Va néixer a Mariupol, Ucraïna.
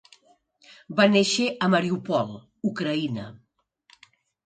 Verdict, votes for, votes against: accepted, 4, 0